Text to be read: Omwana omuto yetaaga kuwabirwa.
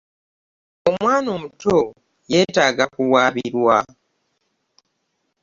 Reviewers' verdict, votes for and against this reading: accepted, 2, 0